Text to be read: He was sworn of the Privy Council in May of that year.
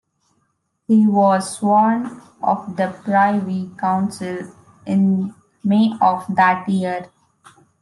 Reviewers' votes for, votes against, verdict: 1, 2, rejected